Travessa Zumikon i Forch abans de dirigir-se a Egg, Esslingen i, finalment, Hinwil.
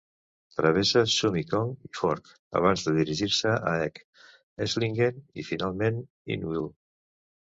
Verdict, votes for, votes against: accepted, 2, 0